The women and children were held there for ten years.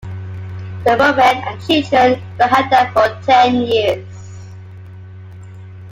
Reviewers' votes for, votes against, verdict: 2, 1, accepted